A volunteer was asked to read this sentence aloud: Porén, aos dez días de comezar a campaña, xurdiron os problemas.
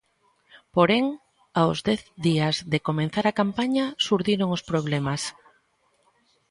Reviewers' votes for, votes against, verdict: 1, 2, rejected